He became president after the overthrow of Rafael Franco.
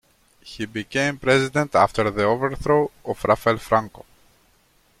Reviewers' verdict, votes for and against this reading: accepted, 2, 0